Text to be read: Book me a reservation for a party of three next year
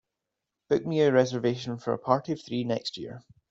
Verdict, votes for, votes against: accepted, 2, 0